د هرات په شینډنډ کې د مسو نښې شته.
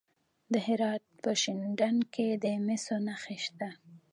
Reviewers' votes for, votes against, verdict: 2, 1, accepted